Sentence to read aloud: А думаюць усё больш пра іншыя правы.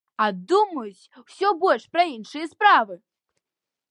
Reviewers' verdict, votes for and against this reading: rejected, 0, 2